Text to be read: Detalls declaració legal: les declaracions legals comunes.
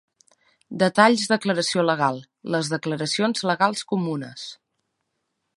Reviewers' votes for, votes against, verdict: 2, 0, accepted